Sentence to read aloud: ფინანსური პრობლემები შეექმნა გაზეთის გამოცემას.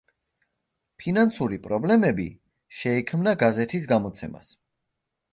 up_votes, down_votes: 2, 0